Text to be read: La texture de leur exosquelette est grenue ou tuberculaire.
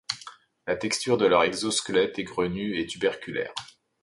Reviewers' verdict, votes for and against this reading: rejected, 1, 2